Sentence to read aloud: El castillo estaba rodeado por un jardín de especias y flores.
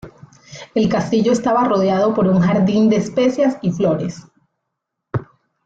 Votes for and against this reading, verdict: 2, 0, accepted